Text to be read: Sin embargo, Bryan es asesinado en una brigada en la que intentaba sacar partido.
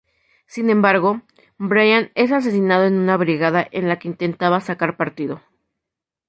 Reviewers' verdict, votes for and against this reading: accepted, 4, 0